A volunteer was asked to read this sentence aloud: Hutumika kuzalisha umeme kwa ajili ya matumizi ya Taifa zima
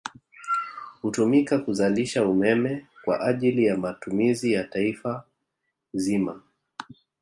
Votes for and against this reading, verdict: 2, 1, accepted